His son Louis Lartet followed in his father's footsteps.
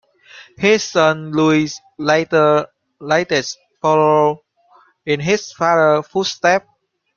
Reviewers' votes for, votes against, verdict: 1, 2, rejected